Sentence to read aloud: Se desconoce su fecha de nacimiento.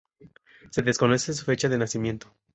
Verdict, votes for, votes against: accepted, 2, 0